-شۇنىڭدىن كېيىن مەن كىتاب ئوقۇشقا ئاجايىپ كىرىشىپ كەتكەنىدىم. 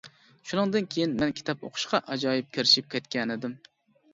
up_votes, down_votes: 2, 0